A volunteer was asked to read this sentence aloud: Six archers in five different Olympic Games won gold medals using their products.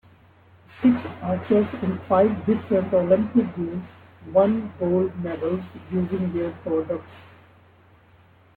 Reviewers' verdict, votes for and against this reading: accepted, 2, 1